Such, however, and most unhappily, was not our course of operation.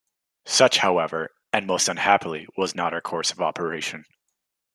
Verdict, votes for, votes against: accepted, 2, 0